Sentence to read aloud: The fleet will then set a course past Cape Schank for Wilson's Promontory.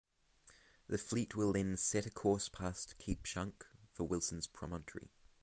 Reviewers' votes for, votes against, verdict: 6, 0, accepted